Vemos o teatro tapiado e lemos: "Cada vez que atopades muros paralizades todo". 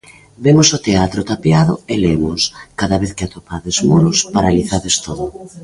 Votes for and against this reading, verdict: 0, 2, rejected